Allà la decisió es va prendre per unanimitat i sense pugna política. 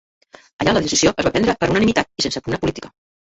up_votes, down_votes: 1, 4